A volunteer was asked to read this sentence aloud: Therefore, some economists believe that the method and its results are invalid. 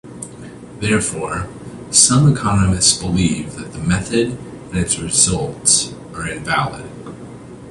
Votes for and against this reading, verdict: 2, 0, accepted